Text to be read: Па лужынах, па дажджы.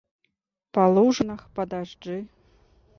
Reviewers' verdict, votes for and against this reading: accepted, 2, 0